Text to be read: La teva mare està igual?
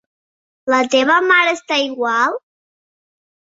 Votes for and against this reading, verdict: 2, 0, accepted